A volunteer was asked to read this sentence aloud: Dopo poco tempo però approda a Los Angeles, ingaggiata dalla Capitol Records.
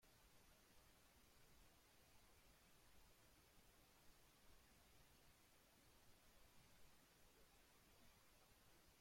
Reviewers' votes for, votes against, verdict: 0, 2, rejected